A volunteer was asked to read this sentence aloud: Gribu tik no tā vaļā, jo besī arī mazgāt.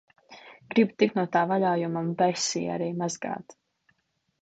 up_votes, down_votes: 0, 2